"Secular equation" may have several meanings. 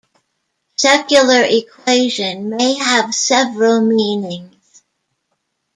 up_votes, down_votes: 2, 0